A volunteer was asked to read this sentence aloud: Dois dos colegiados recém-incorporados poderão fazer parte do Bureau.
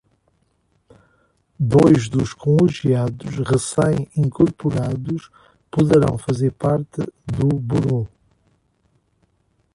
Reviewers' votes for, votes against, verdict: 0, 2, rejected